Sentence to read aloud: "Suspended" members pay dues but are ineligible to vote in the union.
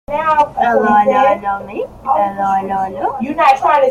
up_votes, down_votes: 0, 2